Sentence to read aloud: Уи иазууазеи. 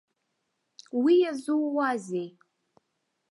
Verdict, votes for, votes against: accepted, 2, 0